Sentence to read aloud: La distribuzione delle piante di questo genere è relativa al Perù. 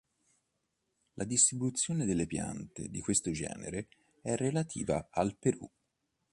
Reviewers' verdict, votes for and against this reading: accepted, 2, 0